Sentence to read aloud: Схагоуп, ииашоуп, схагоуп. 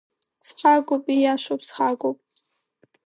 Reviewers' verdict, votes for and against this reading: accepted, 2, 1